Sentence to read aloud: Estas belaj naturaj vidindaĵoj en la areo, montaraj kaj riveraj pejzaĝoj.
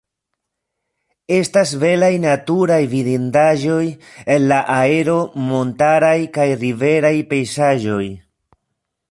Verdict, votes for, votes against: rejected, 0, 2